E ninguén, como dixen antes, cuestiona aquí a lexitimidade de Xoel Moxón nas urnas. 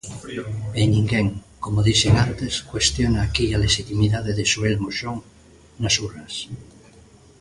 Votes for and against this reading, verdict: 1, 2, rejected